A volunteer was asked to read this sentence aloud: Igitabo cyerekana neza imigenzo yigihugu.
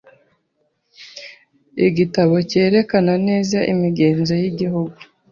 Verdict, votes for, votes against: accepted, 2, 0